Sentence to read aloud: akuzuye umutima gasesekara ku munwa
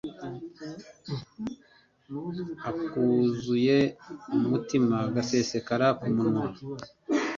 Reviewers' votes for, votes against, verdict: 2, 0, accepted